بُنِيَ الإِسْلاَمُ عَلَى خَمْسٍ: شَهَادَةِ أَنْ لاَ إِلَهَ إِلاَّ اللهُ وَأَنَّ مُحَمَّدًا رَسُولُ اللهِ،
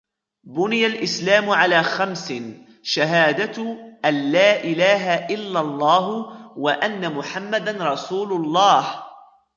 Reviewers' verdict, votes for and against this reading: accepted, 2, 0